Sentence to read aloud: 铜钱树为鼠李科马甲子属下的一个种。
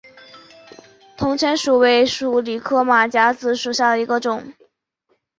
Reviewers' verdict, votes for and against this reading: accepted, 2, 1